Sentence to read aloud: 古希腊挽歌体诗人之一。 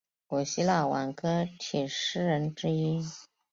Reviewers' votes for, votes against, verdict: 4, 0, accepted